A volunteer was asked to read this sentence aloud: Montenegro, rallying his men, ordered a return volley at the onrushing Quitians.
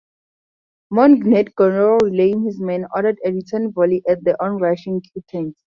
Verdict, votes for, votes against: rejected, 0, 2